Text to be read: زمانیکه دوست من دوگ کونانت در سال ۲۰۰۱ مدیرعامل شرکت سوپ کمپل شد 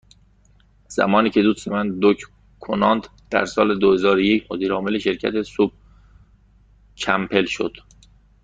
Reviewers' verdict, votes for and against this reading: rejected, 0, 2